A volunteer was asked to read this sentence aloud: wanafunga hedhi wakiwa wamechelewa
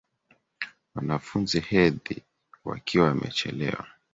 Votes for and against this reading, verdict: 0, 2, rejected